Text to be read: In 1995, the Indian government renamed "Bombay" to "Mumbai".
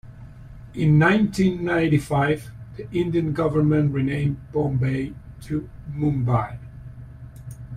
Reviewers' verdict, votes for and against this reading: rejected, 0, 2